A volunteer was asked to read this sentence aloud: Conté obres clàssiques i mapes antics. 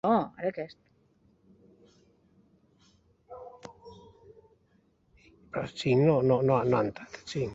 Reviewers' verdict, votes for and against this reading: rejected, 0, 2